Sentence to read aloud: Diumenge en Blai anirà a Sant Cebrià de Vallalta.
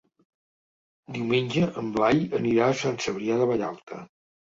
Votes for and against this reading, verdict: 3, 0, accepted